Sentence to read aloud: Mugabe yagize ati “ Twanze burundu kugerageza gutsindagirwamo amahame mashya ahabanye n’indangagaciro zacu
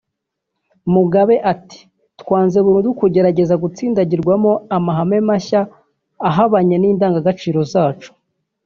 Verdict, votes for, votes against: rejected, 0, 2